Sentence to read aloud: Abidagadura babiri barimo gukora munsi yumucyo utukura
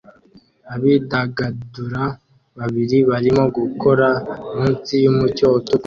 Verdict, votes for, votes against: rejected, 1, 2